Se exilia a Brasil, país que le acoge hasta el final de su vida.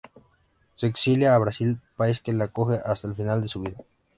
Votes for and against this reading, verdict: 2, 0, accepted